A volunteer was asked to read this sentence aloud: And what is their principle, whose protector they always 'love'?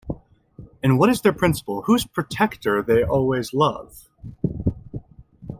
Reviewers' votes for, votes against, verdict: 2, 0, accepted